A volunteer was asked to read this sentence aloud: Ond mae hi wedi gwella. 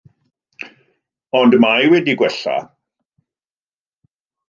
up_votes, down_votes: 0, 2